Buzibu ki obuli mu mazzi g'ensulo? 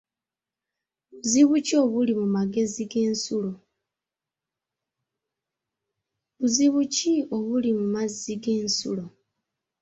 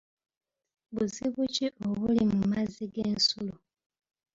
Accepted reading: second